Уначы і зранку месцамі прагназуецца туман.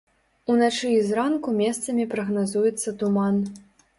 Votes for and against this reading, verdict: 2, 0, accepted